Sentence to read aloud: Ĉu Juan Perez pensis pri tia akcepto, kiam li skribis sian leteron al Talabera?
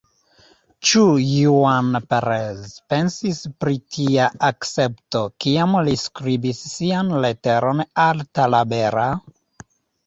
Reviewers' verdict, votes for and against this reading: rejected, 0, 2